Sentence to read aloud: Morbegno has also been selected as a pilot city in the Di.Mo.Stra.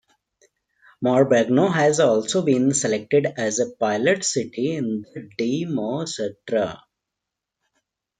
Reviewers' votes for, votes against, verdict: 2, 0, accepted